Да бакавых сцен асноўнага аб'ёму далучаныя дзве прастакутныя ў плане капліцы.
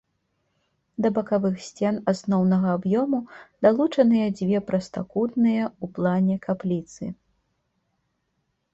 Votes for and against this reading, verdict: 1, 3, rejected